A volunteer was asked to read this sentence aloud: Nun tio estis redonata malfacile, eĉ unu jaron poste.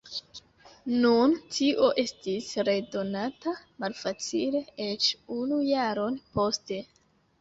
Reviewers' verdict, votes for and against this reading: accepted, 2, 0